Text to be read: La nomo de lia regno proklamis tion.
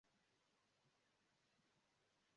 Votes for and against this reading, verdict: 0, 2, rejected